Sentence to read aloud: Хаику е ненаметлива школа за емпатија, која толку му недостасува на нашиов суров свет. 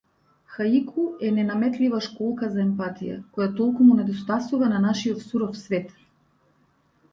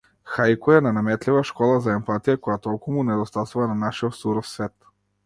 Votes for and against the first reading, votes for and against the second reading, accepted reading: 1, 2, 2, 0, second